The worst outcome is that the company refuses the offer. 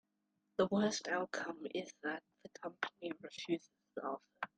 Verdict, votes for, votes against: rejected, 0, 2